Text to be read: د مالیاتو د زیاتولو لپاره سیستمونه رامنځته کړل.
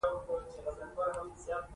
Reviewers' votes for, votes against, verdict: 2, 1, accepted